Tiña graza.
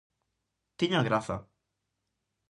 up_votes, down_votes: 4, 0